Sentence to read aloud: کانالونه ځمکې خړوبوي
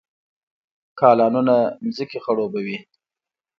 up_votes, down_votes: 1, 2